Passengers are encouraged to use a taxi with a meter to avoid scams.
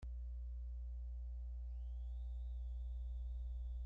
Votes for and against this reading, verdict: 0, 2, rejected